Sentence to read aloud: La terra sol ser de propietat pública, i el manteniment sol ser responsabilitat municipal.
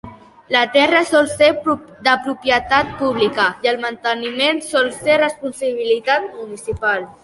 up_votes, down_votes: 1, 2